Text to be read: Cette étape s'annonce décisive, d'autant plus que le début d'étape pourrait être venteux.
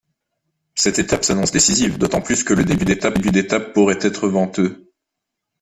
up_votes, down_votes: 1, 2